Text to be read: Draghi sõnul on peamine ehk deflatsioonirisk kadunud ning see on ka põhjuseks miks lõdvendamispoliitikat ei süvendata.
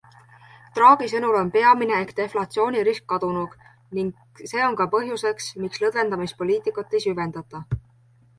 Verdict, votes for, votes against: accepted, 2, 1